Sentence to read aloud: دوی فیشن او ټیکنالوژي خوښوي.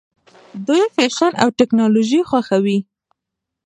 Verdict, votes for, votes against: accepted, 2, 0